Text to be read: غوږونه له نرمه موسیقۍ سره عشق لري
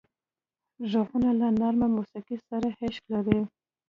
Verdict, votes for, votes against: rejected, 1, 2